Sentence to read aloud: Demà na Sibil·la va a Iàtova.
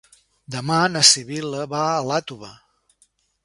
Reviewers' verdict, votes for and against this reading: rejected, 2, 3